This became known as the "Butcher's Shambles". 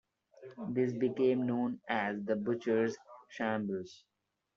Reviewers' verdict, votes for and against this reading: accepted, 2, 1